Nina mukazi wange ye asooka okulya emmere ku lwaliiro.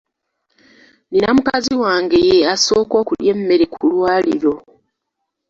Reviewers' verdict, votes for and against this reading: rejected, 1, 2